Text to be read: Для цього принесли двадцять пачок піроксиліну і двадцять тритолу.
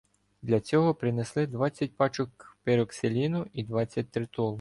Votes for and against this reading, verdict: 2, 1, accepted